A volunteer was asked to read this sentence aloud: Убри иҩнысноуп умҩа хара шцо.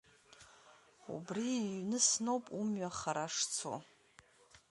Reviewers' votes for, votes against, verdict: 2, 0, accepted